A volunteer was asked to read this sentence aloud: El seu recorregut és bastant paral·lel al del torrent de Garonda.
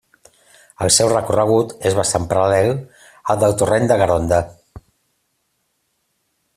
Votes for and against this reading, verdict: 2, 0, accepted